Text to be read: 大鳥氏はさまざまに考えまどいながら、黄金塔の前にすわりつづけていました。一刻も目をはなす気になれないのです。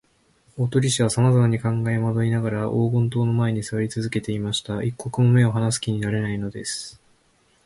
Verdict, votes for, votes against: accepted, 3, 0